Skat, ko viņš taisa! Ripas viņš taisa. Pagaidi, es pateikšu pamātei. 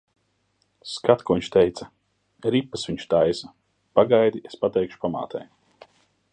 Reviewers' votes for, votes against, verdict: 0, 2, rejected